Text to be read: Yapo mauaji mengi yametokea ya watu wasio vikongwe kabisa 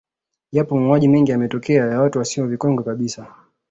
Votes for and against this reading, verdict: 2, 1, accepted